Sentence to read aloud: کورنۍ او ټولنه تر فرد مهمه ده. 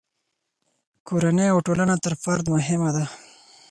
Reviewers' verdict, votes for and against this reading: accepted, 4, 0